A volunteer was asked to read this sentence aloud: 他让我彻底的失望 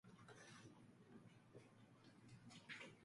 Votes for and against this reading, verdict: 0, 2, rejected